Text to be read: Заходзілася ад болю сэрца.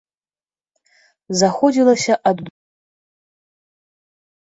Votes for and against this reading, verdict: 0, 2, rejected